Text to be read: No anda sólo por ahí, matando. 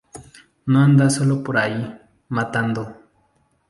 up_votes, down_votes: 2, 0